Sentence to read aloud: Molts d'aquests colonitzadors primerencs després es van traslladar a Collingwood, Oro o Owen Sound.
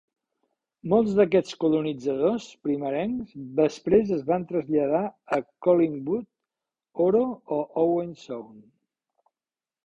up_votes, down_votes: 2, 0